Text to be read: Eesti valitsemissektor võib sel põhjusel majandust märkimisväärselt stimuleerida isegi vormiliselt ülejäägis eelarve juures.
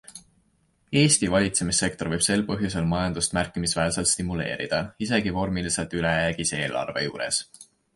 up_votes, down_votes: 2, 0